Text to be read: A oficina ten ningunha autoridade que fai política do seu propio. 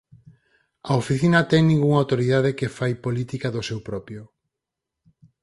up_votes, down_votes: 4, 0